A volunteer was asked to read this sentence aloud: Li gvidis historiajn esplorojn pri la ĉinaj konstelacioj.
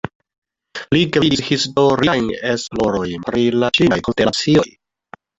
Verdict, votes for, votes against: rejected, 0, 2